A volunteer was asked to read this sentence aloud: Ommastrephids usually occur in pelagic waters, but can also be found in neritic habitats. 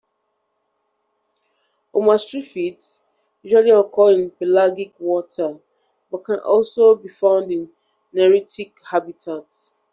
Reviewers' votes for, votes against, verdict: 1, 2, rejected